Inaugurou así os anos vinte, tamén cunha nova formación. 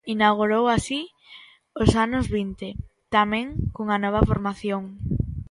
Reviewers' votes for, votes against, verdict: 2, 0, accepted